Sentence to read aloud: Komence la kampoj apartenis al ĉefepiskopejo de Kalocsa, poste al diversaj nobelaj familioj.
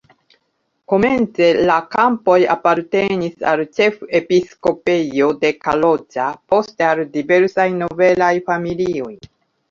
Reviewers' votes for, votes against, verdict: 0, 2, rejected